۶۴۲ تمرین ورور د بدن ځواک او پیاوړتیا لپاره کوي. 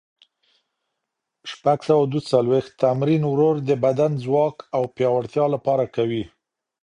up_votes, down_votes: 0, 2